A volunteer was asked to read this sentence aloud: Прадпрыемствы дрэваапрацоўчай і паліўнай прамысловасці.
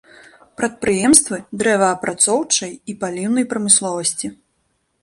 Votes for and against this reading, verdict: 0, 2, rejected